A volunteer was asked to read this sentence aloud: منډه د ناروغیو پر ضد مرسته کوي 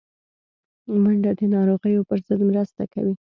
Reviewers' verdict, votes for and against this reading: accepted, 2, 0